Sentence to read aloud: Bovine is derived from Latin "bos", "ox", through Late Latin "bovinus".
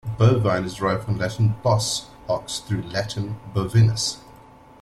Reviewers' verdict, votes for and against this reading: rejected, 0, 2